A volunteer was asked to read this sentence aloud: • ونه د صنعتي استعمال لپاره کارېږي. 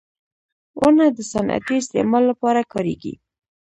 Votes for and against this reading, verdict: 1, 2, rejected